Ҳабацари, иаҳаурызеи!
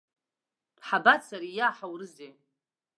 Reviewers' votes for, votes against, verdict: 1, 2, rejected